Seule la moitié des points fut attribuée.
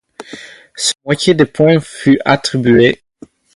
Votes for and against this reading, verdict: 2, 0, accepted